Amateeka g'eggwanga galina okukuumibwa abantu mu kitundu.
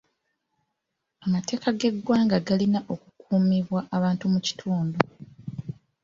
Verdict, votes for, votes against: accepted, 2, 0